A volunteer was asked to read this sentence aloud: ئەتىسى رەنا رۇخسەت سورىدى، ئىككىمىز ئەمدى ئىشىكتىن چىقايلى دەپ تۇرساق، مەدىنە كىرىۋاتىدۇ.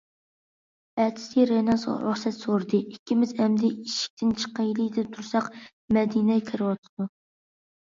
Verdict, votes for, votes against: rejected, 0, 2